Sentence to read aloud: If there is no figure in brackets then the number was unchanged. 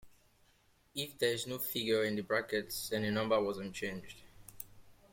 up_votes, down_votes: 2, 0